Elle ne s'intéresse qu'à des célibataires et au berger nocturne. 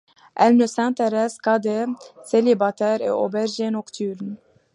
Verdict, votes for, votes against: accepted, 2, 0